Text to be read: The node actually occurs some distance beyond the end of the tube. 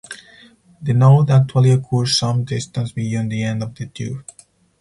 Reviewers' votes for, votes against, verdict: 2, 2, rejected